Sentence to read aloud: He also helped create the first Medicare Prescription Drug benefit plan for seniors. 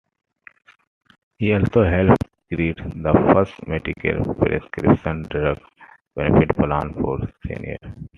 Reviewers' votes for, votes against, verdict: 2, 0, accepted